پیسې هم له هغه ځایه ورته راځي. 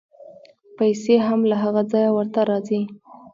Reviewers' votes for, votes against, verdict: 1, 2, rejected